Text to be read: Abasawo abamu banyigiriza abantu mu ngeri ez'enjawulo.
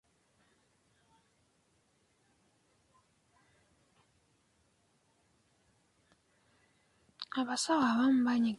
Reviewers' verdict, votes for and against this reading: rejected, 0, 2